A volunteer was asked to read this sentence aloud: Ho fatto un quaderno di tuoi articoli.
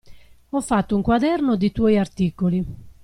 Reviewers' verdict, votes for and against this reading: accepted, 2, 0